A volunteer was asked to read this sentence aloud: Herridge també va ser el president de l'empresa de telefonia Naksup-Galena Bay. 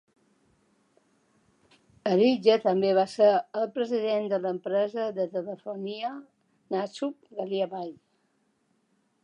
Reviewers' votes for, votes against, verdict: 3, 2, accepted